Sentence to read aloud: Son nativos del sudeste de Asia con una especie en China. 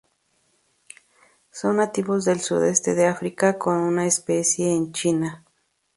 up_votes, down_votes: 0, 2